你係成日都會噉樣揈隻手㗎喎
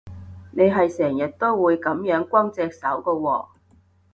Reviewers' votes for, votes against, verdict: 0, 2, rejected